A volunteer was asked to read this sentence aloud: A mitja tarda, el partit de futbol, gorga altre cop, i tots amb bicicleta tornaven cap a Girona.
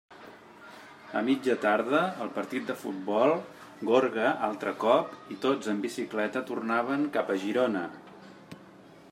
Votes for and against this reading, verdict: 2, 0, accepted